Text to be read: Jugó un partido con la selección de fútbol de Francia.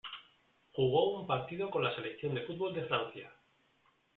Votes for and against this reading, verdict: 2, 0, accepted